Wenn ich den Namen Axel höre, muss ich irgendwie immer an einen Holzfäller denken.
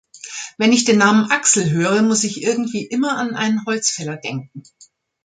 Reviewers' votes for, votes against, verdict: 2, 0, accepted